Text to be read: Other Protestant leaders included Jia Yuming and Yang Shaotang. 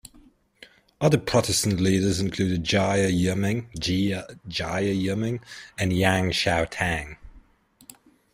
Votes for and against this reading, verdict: 0, 2, rejected